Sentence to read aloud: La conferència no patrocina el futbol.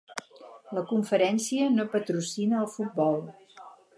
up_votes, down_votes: 2, 4